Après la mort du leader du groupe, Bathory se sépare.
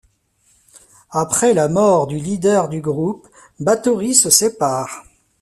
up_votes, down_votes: 2, 0